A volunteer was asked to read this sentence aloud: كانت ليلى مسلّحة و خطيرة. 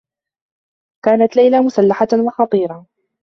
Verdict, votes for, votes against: accepted, 3, 0